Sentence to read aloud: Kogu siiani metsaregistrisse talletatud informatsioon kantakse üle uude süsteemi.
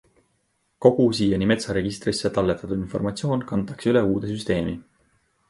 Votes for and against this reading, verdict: 2, 0, accepted